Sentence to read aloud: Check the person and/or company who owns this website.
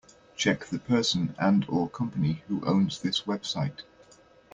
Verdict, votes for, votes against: accepted, 2, 0